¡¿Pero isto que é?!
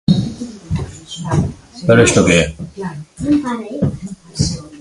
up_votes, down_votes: 1, 2